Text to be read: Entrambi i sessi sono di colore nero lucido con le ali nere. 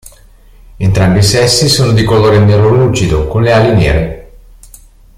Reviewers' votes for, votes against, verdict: 2, 0, accepted